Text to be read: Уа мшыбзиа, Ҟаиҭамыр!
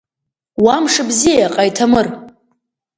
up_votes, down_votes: 2, 0